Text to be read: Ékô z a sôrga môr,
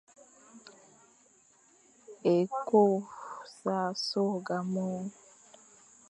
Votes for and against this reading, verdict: 1, 2, rejected